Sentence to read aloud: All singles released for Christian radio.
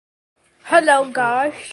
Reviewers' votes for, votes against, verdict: 0, 2, rejected